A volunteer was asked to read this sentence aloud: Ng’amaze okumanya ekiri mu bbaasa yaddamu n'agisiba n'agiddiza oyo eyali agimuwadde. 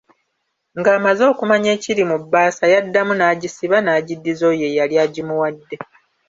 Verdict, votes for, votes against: accepted, 2, 0